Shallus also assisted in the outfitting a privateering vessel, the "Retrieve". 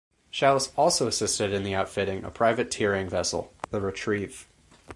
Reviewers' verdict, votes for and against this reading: accepted, 4, 0